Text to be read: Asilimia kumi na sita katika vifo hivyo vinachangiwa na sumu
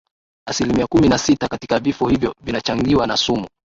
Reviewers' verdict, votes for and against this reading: rejected, 0, 2